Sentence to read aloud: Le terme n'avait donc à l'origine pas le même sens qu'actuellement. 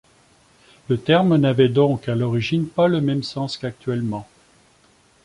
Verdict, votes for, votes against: accepted, 3, 0